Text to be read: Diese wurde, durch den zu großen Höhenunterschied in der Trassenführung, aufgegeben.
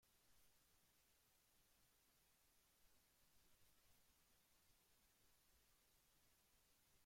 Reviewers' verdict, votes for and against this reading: rejected, 0, 2